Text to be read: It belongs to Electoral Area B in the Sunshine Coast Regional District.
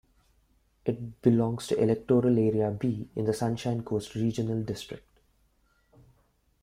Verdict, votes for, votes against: rejected, 1, 2